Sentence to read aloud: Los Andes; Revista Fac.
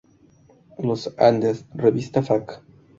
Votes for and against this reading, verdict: 2, 2, rejected